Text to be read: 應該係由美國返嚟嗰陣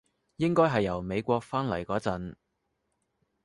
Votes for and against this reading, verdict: 2, 0, accepted